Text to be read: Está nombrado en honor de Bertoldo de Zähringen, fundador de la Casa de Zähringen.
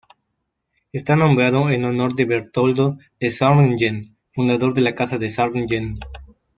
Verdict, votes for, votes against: rejected, 0, 2